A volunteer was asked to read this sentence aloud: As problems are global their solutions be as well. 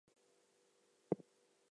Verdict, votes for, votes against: rejected, 0, 2